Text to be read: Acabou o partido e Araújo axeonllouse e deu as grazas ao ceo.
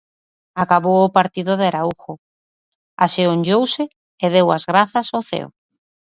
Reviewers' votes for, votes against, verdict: 1, 2, rejected